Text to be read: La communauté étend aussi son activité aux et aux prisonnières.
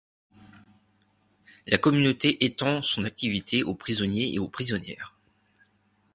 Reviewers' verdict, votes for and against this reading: rejected, 1, 2